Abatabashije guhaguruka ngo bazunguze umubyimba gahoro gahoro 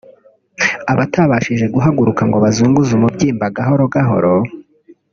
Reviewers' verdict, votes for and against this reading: rejected, 0, 2